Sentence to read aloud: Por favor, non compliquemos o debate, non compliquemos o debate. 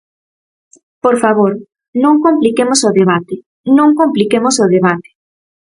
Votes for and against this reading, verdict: 4, 0, accepted